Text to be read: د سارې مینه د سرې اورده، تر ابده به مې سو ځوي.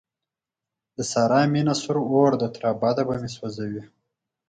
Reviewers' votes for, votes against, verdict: 4, 2, accepted